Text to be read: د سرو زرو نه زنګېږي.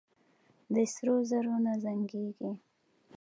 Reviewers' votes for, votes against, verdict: 2, 0, accepted